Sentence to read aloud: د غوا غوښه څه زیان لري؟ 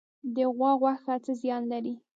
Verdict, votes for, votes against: rejected, 1, 2